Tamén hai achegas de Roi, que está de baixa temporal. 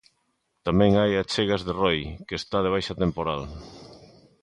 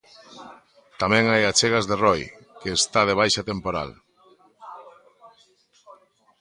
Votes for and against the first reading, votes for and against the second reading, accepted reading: 2, 0, 0, 2, first